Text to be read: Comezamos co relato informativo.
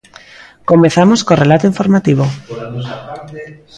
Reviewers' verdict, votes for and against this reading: rejected, 0, 2